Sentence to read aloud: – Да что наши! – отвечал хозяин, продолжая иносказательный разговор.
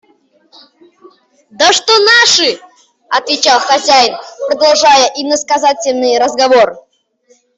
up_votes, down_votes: 0, 2